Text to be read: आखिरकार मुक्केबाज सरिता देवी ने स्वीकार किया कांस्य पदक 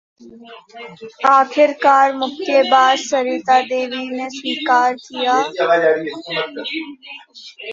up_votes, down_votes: 0, 2